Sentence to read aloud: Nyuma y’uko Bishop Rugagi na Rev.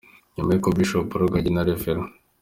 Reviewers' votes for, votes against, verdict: 2, 0, accepted